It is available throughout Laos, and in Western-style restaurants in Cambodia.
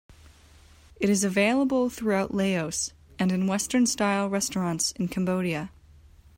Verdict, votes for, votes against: accepted, 2, 1